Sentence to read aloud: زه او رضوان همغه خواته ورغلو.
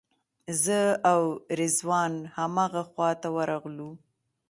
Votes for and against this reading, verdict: 2, 0, accepted